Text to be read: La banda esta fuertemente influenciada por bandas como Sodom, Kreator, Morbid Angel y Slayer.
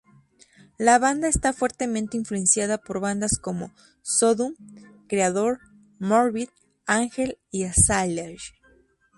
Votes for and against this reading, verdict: 0, 2, rejected